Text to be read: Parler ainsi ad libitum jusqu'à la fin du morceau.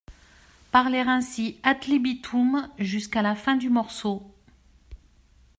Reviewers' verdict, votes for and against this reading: accepted, 2, 0